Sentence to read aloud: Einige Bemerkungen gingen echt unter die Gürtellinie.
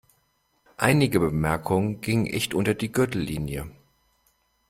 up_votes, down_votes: 2, 0